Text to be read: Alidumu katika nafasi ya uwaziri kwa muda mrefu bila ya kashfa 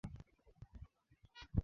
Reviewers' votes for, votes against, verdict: 0, 2, rejected